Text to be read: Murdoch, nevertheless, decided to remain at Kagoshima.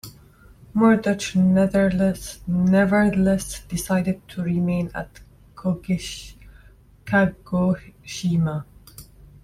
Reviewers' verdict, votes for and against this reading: rejected, 0, 3